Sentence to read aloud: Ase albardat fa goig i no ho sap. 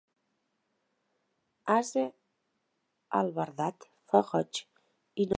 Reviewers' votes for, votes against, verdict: 0, 2, rejected